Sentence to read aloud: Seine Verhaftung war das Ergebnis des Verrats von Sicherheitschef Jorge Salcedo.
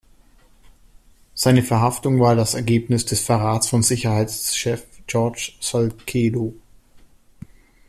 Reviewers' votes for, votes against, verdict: 1, 2, rejected